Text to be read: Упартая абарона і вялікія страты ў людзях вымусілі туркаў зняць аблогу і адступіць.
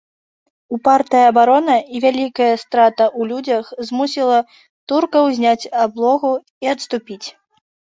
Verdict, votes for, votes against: rejected, 0, 2